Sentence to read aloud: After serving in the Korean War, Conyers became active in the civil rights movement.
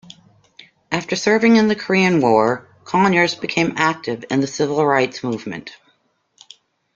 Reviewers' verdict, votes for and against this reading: accepted, 2, 0